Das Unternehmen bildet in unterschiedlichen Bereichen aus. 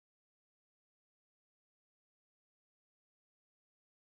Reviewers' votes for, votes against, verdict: 0, 2, rejected